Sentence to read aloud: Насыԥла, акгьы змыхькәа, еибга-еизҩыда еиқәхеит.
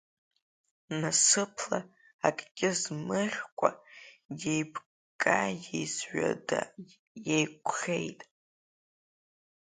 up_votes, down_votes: 1, 2